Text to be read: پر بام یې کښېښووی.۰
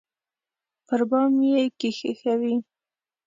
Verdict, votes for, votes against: rejected, 0, 2